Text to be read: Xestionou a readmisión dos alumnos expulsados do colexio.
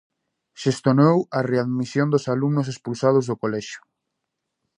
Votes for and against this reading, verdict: 0, 2, rejected